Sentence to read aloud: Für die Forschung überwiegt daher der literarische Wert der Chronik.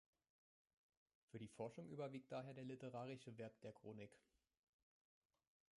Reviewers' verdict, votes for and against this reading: accepted, 2, 1